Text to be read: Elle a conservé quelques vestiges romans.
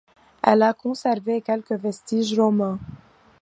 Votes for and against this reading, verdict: 2, 0, accepted